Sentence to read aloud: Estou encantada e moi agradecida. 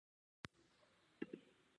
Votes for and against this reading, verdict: 0, 2, rejected